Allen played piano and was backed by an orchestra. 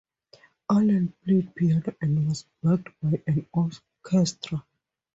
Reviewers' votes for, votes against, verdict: 0, 2, rejected